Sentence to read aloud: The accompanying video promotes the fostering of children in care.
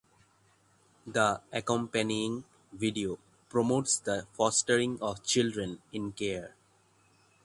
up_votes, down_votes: 6, 0